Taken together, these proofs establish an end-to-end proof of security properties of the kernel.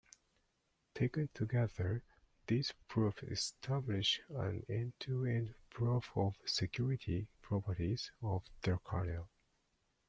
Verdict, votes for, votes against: rejected, 1, 2